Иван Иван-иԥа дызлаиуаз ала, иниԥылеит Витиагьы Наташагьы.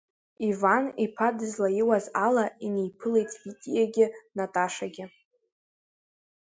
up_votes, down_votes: 0, 2